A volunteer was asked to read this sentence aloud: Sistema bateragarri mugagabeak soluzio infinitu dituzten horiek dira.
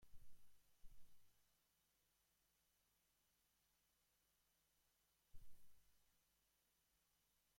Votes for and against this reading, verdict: 0, 2, rejected